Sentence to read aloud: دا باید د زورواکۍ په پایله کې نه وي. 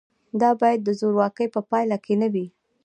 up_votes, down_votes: 2, 0